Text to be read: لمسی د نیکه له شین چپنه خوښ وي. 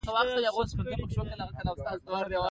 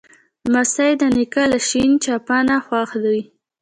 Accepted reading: first